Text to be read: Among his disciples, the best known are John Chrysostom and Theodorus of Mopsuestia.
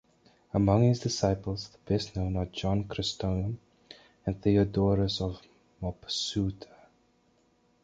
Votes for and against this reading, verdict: 1, 2, rejected